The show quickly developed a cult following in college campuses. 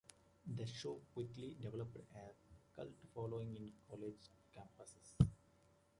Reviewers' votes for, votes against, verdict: 2, 0, accepted